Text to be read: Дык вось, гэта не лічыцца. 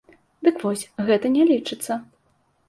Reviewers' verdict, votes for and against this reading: accepted, 2, 0